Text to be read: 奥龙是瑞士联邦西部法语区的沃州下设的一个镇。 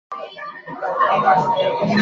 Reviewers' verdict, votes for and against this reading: rejected, 0, 3